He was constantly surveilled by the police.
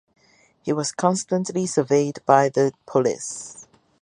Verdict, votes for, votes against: rejected, 2, 4